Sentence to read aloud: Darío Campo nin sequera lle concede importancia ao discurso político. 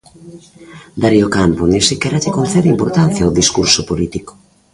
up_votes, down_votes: 1, 2